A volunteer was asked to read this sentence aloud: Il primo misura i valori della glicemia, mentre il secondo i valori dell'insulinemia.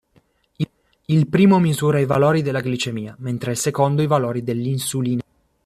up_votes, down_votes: 0, 2